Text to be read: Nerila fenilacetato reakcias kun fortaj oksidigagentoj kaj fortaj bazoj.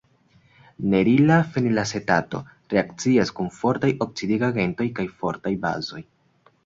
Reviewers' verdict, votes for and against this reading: accepted, 2, 0